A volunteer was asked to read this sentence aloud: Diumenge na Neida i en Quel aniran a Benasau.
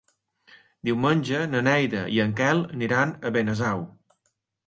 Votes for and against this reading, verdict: 2, 0, accepted